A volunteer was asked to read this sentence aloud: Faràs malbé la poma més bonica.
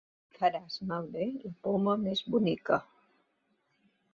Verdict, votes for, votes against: accepted, 2, 1